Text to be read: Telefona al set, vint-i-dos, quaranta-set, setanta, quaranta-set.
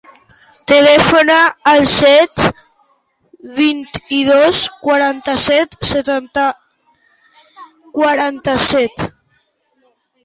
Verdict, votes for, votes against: rejected, 0, 2